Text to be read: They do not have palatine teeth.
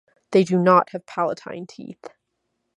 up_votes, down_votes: 2, 0